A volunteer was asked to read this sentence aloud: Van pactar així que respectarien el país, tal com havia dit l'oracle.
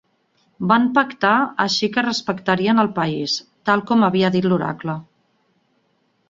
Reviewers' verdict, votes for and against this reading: accepted, 4, 0